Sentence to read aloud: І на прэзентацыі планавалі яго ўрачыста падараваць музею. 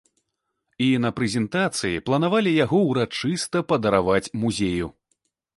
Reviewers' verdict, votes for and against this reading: accepted, 2, 0